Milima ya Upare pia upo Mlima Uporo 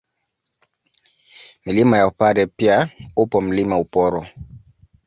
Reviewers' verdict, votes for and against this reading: accepted, 2, 0